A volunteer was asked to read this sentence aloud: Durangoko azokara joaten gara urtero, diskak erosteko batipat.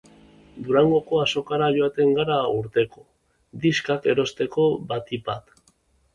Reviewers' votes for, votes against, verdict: 2, 0, accepted